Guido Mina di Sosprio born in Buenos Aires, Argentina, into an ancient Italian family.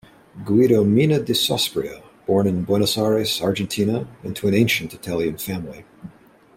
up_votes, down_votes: 2, 0